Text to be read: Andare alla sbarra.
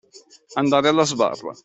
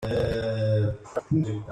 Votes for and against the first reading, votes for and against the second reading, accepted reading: 2, 0, 0, 2, first